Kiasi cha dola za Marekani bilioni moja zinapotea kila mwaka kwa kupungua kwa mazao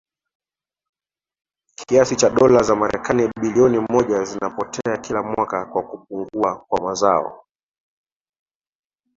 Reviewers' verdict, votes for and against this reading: accepted, 3, 0